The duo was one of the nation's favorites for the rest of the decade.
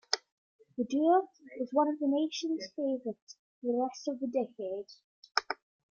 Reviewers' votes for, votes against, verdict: 2, 0, accepted